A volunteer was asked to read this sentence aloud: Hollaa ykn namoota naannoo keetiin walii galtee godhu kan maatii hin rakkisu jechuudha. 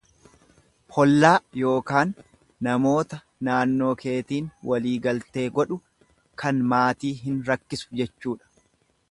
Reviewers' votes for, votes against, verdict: 2, 0, accepted